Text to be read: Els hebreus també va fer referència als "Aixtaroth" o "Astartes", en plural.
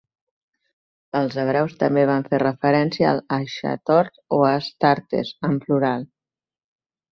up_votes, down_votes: 1, 2